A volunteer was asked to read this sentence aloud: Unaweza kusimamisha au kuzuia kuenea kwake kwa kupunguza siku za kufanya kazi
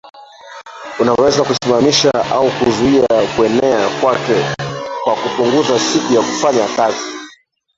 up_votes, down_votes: 0, 3